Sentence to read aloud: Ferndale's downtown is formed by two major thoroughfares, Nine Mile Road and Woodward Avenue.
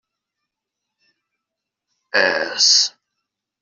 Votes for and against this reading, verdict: 0, 2, rejected